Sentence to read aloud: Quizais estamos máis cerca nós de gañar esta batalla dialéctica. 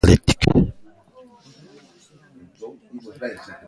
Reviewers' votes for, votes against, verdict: 1, 2, rejected